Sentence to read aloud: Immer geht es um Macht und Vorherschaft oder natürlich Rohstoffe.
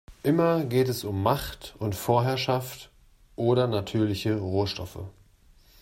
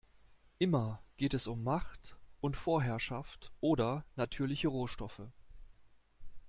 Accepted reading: second